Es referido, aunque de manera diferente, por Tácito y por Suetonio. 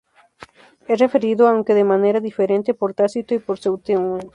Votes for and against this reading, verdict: 0, 4, rejected